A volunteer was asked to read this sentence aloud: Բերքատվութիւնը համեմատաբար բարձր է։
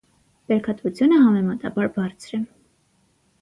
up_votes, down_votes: 3, 0